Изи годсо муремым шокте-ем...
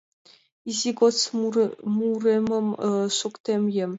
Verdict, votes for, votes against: rejected, 0, 2